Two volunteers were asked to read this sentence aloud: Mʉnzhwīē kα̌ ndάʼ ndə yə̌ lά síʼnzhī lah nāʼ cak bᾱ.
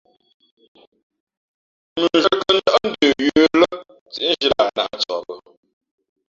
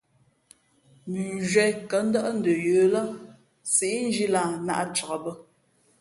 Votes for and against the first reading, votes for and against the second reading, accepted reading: 1, 2, 2, 0, second